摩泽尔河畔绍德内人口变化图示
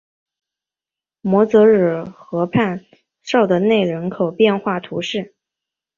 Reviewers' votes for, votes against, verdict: 2, 0, accepted